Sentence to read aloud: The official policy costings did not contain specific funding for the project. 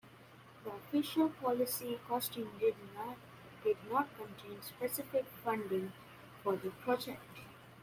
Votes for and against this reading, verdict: 1, 2, rejected